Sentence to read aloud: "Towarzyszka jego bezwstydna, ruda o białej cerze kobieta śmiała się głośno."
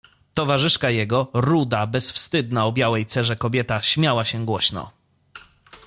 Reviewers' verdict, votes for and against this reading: rejected, 1, 2